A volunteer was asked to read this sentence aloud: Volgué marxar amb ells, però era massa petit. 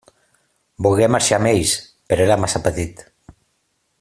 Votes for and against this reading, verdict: 2, 0, accepted